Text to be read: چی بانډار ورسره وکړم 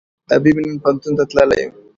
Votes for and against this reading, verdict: 0, 2, rejected